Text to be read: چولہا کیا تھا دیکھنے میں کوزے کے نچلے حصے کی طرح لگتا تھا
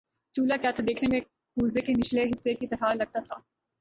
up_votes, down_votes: 2, 0